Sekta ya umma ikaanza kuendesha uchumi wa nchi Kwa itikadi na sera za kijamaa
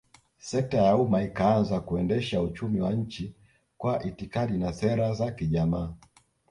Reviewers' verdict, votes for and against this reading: rejected, 0, 2